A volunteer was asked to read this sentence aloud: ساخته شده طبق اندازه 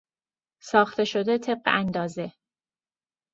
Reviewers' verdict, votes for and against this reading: accepted, 2, 0